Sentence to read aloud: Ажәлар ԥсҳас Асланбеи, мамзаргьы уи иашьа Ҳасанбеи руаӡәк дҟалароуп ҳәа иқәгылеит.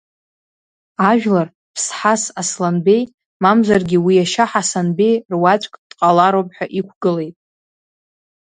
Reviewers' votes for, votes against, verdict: 2, 0, accepted